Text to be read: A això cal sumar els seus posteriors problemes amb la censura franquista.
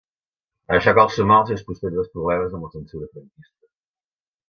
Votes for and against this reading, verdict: 0, 2, rejected